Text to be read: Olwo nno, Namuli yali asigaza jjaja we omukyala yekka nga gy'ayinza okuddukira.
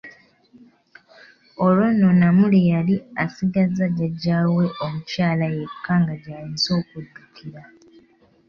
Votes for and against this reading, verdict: 2, 0, accepted